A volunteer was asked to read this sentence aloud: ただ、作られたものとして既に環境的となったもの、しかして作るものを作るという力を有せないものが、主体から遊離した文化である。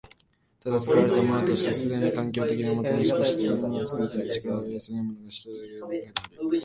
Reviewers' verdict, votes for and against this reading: rejected, 1, 2